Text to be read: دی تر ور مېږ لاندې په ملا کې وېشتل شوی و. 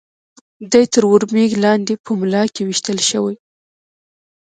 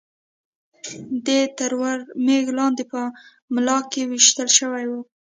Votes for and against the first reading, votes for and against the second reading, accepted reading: 2, 1, 1, 2, first